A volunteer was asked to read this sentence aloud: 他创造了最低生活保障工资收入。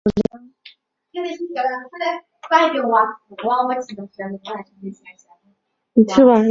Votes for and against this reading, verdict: 1, 3, rejected